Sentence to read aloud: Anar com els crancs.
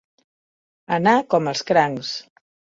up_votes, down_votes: 2, 0